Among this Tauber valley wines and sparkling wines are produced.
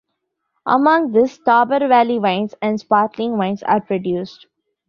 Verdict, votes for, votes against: accepted, 2, 0